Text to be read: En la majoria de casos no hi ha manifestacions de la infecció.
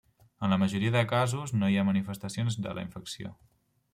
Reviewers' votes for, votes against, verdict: 1, 2, rejected